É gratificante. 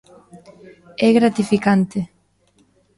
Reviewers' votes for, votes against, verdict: 1, 2, rejected